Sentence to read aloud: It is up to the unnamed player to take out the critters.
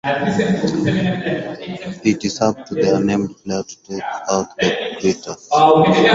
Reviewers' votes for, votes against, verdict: 0, 4, rejected